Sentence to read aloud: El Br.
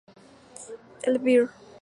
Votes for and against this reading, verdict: 0, 2, rejected